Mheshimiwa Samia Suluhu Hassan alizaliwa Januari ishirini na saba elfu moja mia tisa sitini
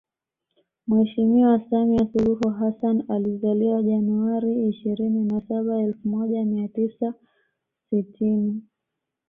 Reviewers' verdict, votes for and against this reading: accepted, 2, 0